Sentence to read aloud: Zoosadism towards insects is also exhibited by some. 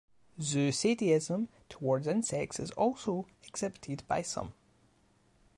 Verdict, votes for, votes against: rejected, 0, 2